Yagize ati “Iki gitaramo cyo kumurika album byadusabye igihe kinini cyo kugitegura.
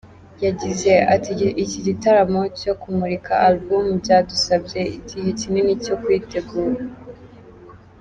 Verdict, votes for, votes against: rejected, 0, 2